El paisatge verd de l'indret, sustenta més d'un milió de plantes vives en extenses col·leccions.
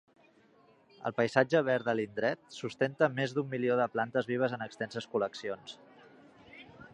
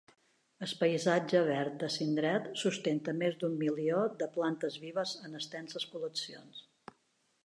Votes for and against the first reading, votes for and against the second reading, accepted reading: 3, 0, 1, 2, first